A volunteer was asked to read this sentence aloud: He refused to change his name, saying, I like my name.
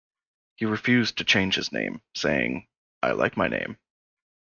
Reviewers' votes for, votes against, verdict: 2, 0, accepted